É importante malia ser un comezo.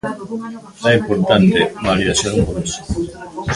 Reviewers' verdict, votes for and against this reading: rejected, 0, 3